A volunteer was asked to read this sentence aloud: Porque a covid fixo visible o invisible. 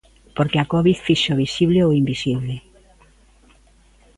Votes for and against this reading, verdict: 2, 0, accepted